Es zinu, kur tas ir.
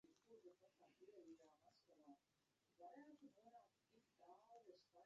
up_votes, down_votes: 0, 2